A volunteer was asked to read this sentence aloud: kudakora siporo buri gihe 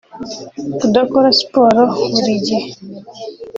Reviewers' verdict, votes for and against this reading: rejected, 0, 2